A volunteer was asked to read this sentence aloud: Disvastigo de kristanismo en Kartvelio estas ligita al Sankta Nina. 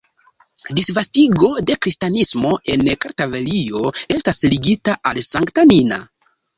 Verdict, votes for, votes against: rejected, 1, 2